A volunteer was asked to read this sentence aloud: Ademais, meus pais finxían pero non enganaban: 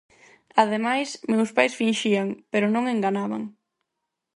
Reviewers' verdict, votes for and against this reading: accepted, 4, 2